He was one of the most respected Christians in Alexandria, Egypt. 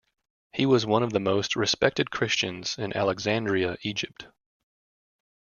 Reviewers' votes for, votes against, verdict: 2, 0, accepted